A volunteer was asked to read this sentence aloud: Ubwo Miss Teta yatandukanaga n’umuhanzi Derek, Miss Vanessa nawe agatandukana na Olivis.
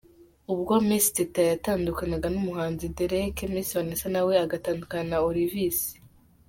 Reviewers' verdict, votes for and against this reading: accepted, 2, 0